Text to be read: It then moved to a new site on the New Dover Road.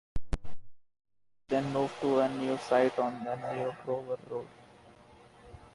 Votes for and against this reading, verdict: 1, 2, rejected